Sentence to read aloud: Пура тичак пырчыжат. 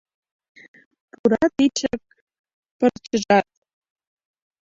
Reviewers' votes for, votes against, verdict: 1, 2, rejected